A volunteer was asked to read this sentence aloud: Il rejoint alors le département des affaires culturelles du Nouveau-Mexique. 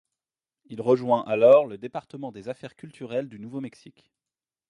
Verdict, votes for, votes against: rejected, 0, 2